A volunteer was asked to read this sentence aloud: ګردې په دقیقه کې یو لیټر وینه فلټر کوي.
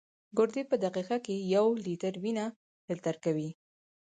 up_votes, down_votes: 4, 0